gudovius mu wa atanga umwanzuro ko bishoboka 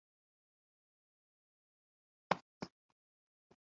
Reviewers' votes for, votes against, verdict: 0, 2, rejected